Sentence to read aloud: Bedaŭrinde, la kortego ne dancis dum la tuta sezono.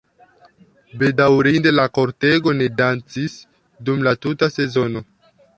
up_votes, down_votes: 2, 1